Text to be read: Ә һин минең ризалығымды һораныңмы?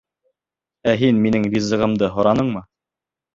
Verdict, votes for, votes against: rejected, 1, 2